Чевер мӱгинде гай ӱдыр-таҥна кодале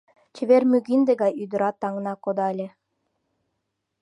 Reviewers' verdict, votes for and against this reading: rejected, 0, 2